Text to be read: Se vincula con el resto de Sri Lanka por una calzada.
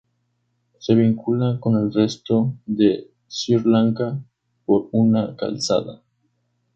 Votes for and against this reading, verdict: 0, 4, rejected